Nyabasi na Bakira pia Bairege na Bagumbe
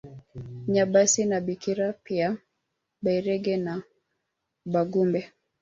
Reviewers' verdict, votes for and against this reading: rejected, 0, 2